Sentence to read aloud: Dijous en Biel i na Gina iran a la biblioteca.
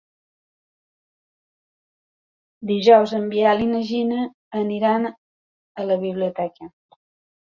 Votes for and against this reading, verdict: 2, 4, rejected